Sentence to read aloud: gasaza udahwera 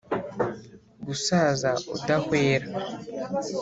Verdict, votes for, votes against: accepted, 4, 1